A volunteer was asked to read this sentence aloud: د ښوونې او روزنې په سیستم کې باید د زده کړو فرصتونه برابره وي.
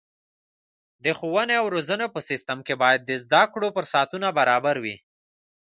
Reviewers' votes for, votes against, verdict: 2, 0, accepted